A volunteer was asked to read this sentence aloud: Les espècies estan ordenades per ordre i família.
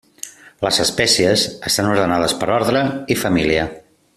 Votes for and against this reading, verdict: 3, 0, accepted